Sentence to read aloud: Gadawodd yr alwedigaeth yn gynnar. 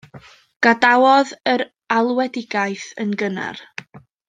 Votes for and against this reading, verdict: 2, 0, accepted